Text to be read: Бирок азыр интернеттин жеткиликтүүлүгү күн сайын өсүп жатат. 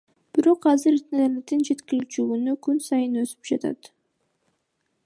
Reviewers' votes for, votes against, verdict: 0, 2, rejected